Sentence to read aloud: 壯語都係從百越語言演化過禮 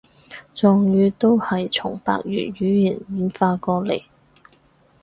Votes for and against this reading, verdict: 2, 2, rejected